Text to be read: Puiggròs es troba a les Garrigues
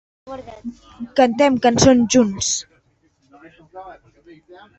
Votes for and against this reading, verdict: 0, 3, rejected